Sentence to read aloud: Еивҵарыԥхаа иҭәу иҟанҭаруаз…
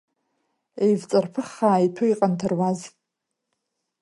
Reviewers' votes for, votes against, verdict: 2, 0, accepted